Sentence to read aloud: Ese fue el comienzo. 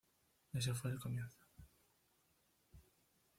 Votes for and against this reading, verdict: 1, 2, rejected